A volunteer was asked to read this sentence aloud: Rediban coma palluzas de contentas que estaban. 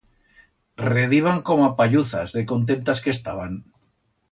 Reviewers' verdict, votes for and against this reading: accepted, 2, 0